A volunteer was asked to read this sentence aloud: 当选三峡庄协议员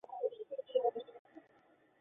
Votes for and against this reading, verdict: 1, 2, rejected